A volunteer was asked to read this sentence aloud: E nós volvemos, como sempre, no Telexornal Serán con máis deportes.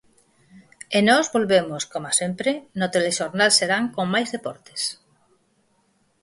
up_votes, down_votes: 0, 4